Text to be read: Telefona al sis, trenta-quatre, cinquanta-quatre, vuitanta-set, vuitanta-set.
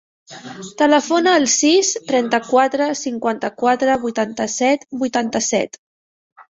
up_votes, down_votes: 1, 2